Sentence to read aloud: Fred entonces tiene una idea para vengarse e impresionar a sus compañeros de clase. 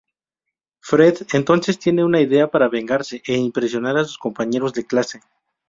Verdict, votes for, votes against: accepted, 4, 0